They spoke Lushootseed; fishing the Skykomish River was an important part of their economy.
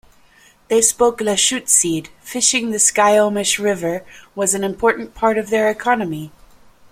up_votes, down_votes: 1, 2